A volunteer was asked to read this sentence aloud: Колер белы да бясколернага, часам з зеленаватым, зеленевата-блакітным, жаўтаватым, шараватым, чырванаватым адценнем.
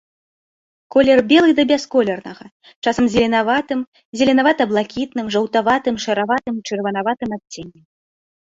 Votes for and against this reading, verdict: 2, 0, accepted